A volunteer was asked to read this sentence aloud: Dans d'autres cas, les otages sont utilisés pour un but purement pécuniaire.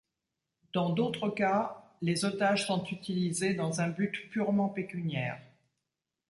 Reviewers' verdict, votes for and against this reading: rejected, 0, 2